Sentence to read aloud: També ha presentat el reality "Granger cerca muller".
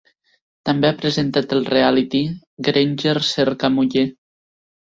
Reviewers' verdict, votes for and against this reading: rejected, 1, 2